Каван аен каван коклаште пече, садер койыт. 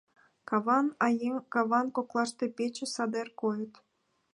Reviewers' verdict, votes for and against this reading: accepted, 2, 0